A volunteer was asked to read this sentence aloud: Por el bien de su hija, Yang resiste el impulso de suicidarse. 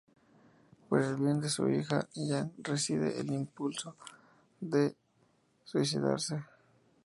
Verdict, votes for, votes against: rejected, 0, 2